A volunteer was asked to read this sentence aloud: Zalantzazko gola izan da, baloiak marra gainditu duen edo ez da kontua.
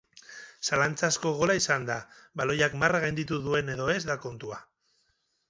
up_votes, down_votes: 4, 0